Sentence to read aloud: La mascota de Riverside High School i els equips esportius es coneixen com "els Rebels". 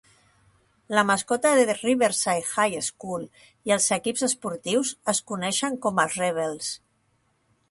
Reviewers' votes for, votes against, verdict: 0, 2, rejected